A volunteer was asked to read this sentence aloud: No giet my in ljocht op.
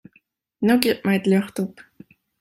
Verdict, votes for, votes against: rejected, 0, 2